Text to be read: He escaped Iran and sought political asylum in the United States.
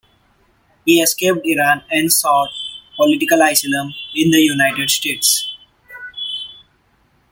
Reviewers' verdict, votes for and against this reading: rejected, 1, 2